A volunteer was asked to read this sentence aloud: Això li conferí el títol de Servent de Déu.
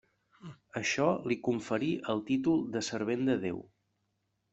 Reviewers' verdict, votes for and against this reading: accepted, 3, 0